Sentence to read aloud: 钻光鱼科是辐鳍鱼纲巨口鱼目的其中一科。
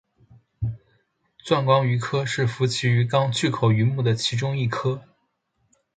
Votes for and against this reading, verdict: 6, 0, accepted